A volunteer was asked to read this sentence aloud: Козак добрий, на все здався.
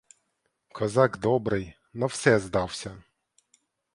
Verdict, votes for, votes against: accepted, 2, 0